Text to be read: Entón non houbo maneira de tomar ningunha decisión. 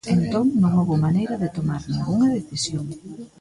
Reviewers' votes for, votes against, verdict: 2, 0, accepted